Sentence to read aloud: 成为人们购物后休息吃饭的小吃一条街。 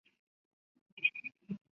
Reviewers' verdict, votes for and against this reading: rejected, 0, 5